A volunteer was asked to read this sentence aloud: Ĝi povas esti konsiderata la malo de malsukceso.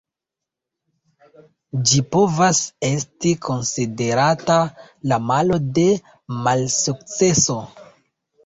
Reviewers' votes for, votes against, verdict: 2, 0, accepted